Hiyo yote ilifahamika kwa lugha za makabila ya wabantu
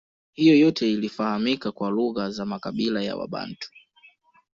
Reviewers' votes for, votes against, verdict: 1, 2, rejected